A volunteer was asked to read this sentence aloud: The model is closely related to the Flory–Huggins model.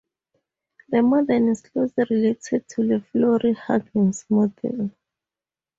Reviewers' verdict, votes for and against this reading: rejected, 0, 4